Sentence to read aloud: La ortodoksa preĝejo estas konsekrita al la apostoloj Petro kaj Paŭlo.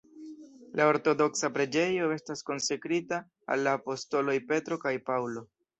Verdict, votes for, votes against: accepted, 2, 0